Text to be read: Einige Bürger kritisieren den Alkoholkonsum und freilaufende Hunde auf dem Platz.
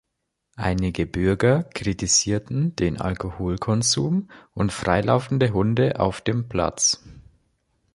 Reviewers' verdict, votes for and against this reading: rejected, 1, 2